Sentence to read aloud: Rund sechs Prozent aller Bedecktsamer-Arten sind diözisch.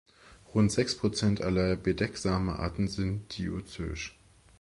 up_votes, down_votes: 0, 2